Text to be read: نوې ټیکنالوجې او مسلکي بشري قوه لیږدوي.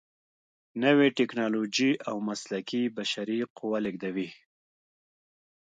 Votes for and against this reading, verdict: 1, 2, rejected